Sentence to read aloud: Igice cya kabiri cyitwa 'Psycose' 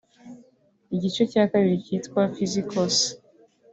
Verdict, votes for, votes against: accepted, 3, 0